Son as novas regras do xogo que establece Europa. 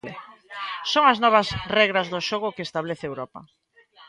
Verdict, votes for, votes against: accepted, 2, 0